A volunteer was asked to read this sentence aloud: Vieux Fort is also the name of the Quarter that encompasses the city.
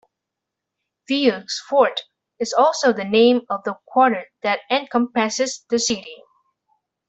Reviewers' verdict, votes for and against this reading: rejected, 1, 2